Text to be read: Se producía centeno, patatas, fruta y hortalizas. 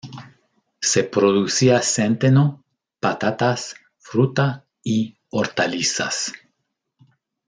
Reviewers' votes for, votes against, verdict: 2, 0, accepted